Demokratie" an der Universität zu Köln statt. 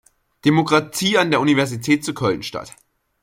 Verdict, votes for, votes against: accepted, 2, 0